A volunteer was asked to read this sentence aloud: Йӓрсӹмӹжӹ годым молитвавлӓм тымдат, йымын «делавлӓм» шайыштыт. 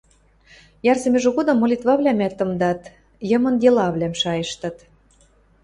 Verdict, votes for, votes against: rejected, 1, 2